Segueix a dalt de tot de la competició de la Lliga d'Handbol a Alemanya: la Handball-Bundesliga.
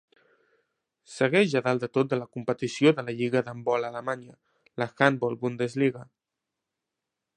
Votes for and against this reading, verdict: 2, 0, accepted